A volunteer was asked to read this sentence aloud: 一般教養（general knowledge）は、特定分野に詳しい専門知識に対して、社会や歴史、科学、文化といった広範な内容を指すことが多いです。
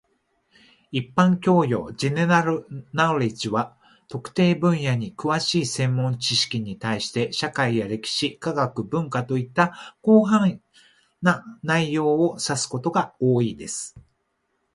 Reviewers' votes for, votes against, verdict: 0, 2, rejected